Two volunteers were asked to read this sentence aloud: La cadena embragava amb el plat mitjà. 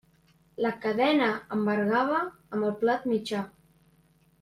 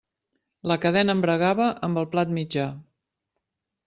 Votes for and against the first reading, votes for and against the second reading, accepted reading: 0, 2, 2, 0, second